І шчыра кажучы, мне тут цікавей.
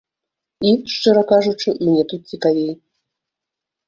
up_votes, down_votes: 2, 0